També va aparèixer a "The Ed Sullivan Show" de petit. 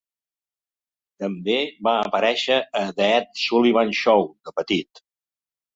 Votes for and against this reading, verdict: 2, 0, accepted